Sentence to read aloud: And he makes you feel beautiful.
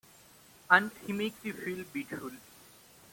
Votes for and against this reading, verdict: 2, 0, accepted